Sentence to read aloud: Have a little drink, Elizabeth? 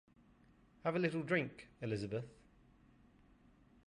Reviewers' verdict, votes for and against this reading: accepted, 2, 0